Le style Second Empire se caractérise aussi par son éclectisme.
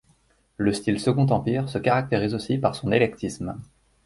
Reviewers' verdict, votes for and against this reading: rejected, 1, 2